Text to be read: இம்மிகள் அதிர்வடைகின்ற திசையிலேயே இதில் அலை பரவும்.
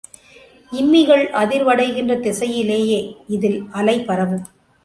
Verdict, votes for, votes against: accepted, 3, 1